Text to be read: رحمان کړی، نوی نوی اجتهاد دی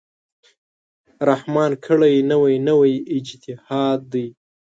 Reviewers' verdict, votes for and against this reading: accepted, 2, 0